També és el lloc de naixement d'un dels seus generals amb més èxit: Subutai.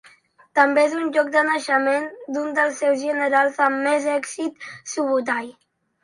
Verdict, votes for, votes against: rejected, 1, 2